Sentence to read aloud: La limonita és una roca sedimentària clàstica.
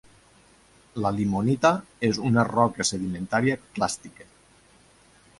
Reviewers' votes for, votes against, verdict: 4, 0, accepted